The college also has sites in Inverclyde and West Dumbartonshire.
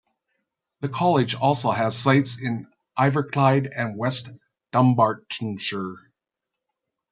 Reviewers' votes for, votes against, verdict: 1, 2, rejected